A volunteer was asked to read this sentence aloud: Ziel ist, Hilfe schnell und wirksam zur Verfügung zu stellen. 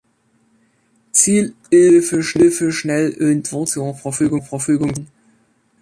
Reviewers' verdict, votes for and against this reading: rejected, 0, 2